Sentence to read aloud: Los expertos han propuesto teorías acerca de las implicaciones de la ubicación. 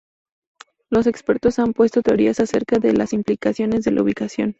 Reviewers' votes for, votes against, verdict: 2, 0, accepted